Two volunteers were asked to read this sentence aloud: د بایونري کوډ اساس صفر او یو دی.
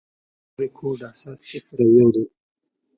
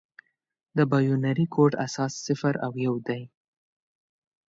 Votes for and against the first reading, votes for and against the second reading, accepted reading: 1, 2, 2, 0, second